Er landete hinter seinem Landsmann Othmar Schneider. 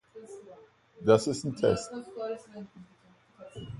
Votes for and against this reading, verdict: 0, 2, rejected